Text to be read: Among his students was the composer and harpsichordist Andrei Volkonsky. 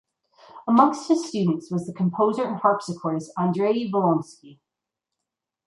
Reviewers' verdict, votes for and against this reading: rejected, 0, 2